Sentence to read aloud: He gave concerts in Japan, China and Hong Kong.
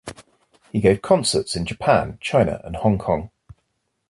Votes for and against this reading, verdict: 2, 1, accepted